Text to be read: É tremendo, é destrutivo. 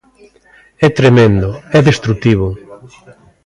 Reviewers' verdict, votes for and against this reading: rejected, 1, 2